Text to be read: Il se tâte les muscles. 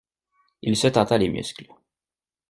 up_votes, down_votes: 0, 2